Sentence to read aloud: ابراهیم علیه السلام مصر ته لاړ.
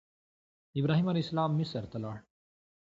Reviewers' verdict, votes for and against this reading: accepted, 2, 0